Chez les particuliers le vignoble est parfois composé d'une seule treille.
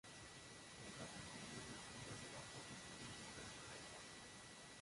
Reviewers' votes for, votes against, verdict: 1, 2, rejected